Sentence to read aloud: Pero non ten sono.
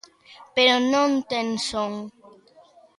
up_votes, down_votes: 0, 2